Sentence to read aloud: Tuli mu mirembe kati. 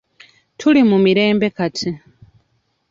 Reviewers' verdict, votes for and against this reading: accepted, 2, 0